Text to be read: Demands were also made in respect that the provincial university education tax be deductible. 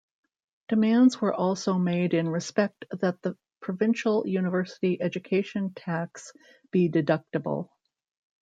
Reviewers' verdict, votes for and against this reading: accepted, 2, 0